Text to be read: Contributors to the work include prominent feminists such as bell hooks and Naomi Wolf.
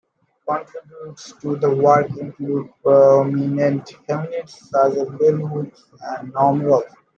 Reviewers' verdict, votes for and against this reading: rejected, 0, 2